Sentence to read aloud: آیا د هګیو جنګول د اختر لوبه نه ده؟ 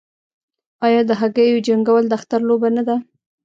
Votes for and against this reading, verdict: 2, 0, accepted